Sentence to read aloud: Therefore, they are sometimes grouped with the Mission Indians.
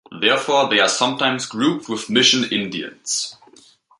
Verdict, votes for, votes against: rejected, 1, 2